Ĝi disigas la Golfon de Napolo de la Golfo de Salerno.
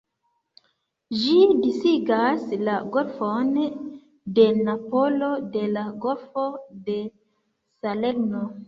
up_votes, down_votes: 2, 1